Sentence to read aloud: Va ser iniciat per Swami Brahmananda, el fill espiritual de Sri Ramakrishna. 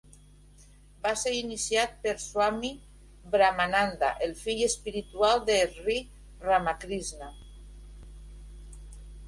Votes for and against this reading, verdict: 2, 0, accepted